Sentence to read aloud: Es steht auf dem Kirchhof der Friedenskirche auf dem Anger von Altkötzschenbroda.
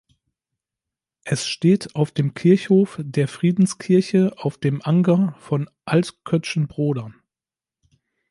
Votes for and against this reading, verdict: 2, 0, accepted